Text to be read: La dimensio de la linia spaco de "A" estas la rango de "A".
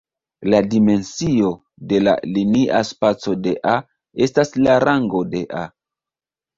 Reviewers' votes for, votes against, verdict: 2, 0, accepted